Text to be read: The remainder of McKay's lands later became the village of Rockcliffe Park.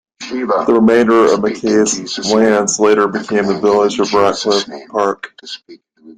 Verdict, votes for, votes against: rejected, 1, 2